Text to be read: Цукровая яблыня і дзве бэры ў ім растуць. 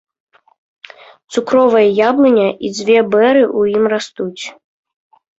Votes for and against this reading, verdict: 2, 0, accepted